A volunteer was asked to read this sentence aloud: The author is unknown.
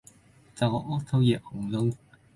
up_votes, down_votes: 1, 2